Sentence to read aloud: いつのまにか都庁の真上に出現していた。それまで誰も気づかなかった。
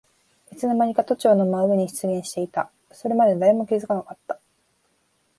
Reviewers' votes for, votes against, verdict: 1, 2, rejected